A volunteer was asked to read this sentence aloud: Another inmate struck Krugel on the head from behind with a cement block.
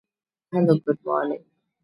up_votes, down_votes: 0, 2